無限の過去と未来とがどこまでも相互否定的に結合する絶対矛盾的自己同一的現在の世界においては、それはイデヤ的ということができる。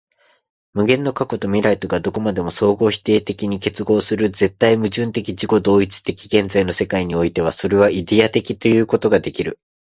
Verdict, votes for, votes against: accepted, 2, 0